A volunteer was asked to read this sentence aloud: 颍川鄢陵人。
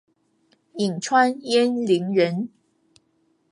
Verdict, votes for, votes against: accepted, 2, 0